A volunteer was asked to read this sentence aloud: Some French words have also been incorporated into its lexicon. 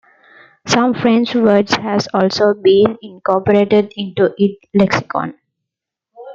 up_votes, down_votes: 0, 2